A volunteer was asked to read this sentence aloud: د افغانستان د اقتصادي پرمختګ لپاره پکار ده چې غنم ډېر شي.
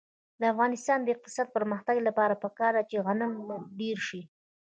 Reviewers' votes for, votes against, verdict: 2, 1, accepted